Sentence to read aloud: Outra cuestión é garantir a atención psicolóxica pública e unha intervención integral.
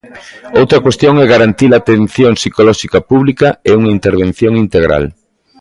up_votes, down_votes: 2, 0